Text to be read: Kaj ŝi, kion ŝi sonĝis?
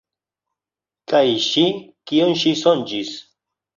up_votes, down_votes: 2, 0